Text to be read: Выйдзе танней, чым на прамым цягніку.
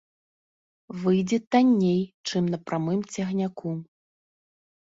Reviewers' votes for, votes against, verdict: 3, 1, accepted